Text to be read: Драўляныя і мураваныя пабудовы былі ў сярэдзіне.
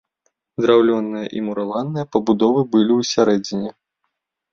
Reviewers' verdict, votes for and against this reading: rejected, 1, 2